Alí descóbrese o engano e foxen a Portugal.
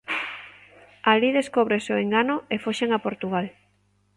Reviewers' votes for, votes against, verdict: 3, 0, accepted